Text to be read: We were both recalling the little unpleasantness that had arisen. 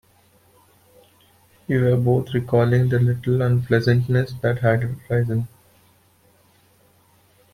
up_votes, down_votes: 2, 1